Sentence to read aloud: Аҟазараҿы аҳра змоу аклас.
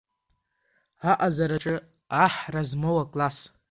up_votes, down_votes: 2, 3